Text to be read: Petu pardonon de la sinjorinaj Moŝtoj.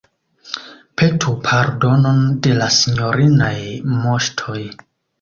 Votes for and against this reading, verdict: 2, 0, accepted